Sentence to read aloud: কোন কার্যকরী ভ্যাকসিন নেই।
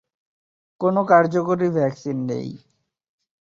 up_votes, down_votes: 2, 0